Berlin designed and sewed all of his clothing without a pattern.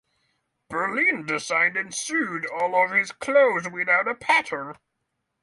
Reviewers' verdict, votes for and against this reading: rejected, 3, 3